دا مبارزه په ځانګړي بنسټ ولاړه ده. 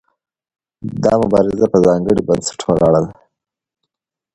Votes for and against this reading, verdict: 2, 0, accepted